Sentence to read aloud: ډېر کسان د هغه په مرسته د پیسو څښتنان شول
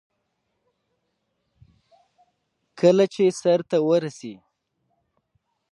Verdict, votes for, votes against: accepted, 2, 0